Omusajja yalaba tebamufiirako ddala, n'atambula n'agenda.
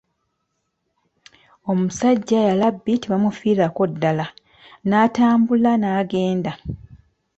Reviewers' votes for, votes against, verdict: 1, 2, rejected